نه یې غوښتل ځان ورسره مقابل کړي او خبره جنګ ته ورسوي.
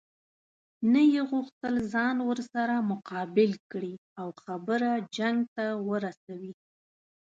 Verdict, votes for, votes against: accepted, 3, 0